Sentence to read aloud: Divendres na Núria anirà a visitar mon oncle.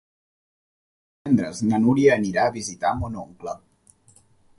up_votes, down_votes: 1, 2